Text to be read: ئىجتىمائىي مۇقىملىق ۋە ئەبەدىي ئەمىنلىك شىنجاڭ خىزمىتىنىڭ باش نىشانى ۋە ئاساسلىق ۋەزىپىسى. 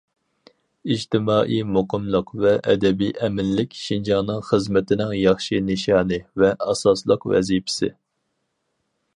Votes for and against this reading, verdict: 0, 4, rejected